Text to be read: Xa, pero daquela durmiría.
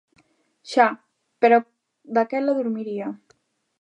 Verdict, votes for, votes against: accepted, 2, 0